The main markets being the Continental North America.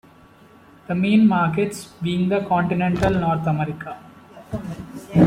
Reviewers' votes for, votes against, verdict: 2, 1, accepted